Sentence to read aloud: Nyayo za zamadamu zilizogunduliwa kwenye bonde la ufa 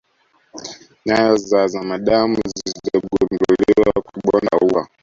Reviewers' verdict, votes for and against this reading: rejected, 0, 2